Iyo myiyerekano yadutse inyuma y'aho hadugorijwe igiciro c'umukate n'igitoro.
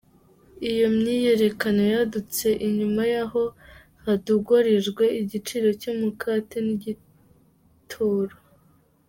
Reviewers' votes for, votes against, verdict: 1, 2, rejected